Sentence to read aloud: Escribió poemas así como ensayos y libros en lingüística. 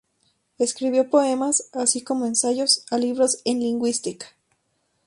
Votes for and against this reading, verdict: 0, 2, rejected